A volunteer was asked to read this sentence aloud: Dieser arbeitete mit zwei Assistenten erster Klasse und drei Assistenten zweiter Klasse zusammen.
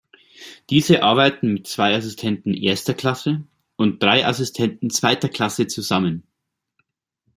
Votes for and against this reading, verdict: 0, 2, rejected